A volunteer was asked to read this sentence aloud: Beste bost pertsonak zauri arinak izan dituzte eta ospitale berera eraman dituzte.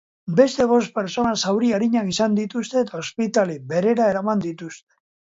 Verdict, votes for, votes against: rejected, 1, 2